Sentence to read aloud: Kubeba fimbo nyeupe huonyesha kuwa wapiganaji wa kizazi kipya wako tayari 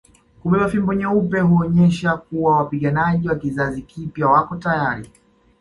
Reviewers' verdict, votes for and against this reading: rejected, 1, 2